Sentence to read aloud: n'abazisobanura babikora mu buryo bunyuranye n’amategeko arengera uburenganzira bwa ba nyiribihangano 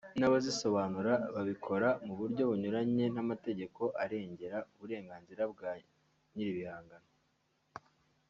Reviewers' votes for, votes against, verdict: 2, 0, accepted